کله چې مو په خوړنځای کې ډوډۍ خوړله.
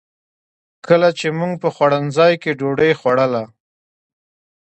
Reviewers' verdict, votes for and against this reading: accepted, 2, 0